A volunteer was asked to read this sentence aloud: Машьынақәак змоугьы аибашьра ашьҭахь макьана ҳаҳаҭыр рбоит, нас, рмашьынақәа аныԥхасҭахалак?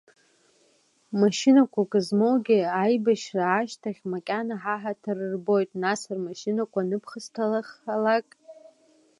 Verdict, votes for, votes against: rejected, 0, 2